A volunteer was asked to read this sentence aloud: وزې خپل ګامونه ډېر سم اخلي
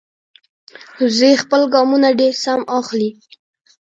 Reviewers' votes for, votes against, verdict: 1, 2, rejected